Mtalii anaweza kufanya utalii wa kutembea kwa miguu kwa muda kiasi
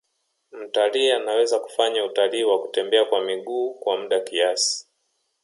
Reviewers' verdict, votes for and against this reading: accepted, 2, 0